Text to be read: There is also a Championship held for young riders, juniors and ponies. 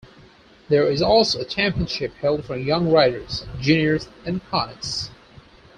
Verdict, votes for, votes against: rejected, 0, 4